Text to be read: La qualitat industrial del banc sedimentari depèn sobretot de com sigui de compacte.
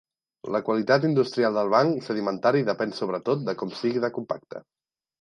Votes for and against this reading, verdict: 2, 0, accepted